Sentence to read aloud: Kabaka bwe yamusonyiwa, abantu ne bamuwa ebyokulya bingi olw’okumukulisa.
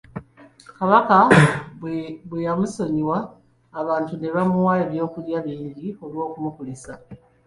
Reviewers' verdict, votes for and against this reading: accepted, 2, 1